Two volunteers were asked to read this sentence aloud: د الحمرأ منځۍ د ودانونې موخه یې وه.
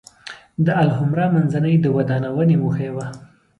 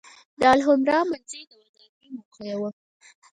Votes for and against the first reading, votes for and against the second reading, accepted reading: 2, 0, 0, 4, first